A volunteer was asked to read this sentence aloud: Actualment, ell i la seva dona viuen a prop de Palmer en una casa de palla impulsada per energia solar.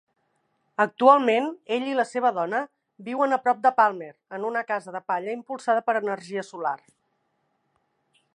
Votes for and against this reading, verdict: 5, 1, accepted